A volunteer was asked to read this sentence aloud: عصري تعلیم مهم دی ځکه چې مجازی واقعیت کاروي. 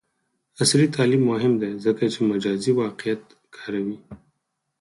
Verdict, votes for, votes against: accepted, 4, 0